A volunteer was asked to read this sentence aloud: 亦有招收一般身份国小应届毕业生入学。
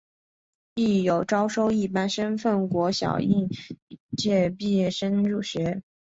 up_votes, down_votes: 2, 3